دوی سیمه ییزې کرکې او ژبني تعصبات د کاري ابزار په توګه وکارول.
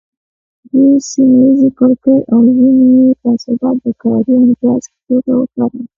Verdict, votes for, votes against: accepted, 2, 0